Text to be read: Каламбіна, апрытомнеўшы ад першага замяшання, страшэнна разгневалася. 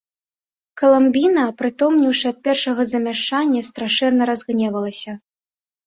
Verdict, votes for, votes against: accepted, 2, 0